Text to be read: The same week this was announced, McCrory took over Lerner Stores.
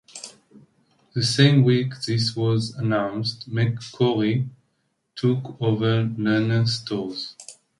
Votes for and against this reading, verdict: 2, 1, accepted